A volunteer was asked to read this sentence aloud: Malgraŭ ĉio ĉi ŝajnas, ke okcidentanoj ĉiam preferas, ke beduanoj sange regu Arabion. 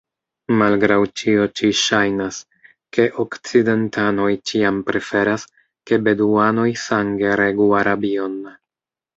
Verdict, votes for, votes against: rejected, 0, 3